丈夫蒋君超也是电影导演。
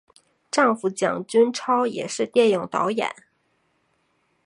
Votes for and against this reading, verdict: 2, 0, accepted